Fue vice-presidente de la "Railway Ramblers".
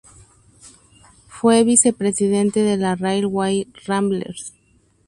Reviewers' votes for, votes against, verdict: 0, 2, rejected